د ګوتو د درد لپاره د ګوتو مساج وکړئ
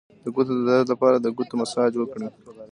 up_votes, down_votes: 2, 0